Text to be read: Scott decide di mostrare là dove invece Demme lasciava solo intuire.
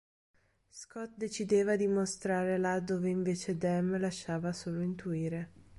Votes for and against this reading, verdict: 0, 3, rejected